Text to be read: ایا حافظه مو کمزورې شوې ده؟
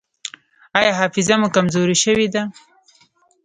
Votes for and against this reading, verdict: 0, 2, rejected